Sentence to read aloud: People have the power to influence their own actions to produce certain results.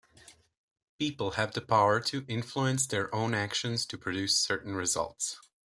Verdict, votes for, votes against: accepted, 2, 0